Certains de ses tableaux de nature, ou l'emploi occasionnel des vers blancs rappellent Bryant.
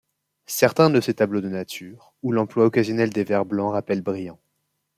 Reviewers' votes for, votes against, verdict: 2, 0, accepted